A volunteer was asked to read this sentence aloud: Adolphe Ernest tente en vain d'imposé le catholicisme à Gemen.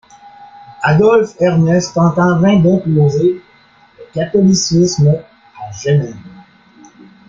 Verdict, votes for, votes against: rejected, 1, 2